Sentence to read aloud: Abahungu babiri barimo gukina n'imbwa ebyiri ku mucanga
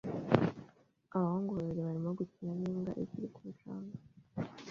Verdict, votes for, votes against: rejected, 0, 2